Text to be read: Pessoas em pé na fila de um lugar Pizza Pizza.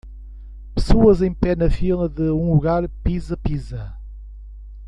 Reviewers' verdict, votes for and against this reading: rejected, 1, 2